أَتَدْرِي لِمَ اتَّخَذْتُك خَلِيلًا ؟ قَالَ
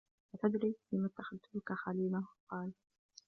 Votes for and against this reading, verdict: 0, 2, rejected